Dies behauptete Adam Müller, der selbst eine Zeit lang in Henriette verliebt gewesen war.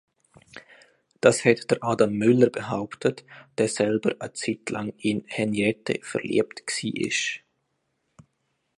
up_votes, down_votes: 1, 3